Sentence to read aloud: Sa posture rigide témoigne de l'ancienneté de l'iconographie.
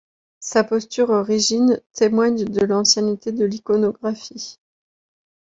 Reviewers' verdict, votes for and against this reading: rejected, 0, 2